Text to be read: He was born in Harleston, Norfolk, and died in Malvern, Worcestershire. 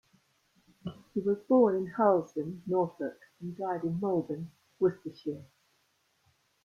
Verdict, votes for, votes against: rejected, 1, 2